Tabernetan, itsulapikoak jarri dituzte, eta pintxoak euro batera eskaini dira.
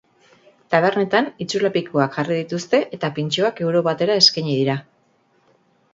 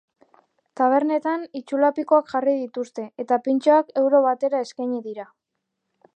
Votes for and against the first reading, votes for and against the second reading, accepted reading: 0, 2, 2, 0, second